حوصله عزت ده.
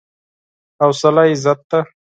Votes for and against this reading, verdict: 4, 0, accepted